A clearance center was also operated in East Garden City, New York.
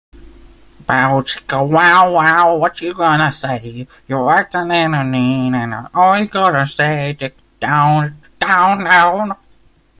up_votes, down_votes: 0, 2